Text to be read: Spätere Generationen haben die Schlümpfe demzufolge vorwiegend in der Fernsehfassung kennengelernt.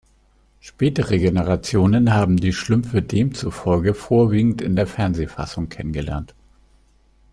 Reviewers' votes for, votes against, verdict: 2, 0, accepted